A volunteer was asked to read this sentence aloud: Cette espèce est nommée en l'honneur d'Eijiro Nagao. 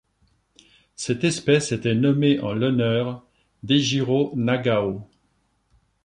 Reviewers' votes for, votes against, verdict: 0, 2, rejected